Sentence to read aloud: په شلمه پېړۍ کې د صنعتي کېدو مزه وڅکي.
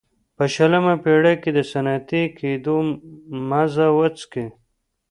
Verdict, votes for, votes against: accepted, 2, 0